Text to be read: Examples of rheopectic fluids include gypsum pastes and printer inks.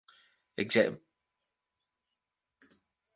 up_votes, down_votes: 0, 2